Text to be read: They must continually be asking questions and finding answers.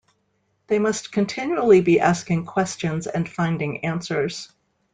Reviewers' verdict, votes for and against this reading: accepted, 2, 1